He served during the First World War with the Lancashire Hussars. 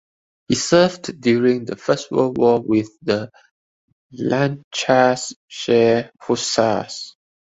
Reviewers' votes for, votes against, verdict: 0, 2, rejected